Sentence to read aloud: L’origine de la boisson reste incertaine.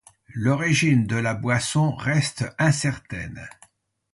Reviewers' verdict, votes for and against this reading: accepted, 2, 0